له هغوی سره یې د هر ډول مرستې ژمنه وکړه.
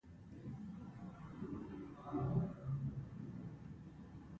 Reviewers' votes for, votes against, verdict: 1, 2, rejected